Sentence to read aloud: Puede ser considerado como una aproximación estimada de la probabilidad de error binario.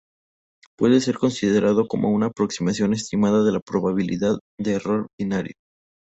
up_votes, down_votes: 0, 2